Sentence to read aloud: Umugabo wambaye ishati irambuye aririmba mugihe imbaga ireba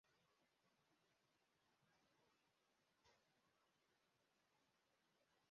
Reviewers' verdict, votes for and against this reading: rejected, 0, 2